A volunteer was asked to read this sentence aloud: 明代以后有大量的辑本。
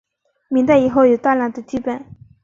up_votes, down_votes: 2, 0